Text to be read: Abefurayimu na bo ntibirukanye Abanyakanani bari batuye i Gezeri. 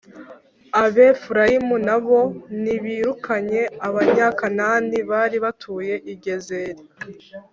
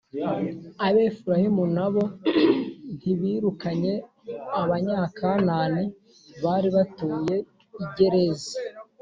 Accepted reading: first